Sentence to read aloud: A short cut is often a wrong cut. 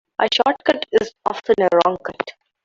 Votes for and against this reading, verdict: 1, 2, rejected